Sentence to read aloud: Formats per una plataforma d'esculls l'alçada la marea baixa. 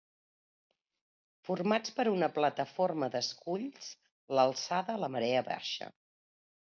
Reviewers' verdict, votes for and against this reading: accepted, 2, 0